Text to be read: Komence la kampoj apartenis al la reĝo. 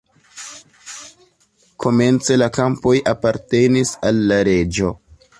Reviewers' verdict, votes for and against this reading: accepted, 2, 1